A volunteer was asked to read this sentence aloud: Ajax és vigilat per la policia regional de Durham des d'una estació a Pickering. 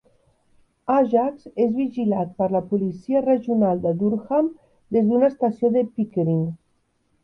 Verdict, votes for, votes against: rejected, 1, 2